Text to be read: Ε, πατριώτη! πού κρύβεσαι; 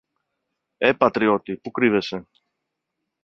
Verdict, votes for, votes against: accepted, 2, 0